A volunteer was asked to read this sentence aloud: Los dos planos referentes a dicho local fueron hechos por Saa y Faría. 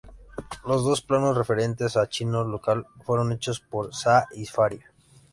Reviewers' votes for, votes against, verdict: 0, 2, rejected